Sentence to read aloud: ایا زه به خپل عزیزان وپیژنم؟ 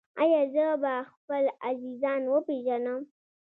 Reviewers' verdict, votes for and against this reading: accepted, 2, 1